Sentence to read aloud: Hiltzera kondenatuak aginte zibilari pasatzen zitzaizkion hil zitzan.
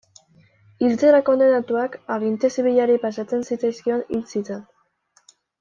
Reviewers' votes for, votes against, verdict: 2, 0, accepted